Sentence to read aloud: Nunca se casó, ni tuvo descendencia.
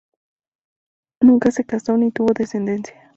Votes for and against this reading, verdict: 0, 2, rejected